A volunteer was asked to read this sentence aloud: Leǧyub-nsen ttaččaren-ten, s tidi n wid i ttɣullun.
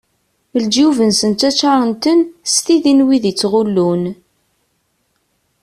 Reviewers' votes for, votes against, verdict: 2, 0, accepted